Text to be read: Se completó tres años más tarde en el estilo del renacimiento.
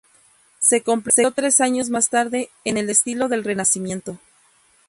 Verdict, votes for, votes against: rejected, 0, 2